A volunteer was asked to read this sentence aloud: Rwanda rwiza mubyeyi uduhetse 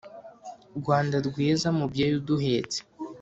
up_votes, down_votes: 2, 0